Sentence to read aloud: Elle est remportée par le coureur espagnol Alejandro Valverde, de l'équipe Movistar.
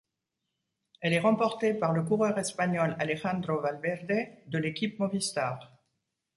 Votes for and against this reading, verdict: 2, 0, accepted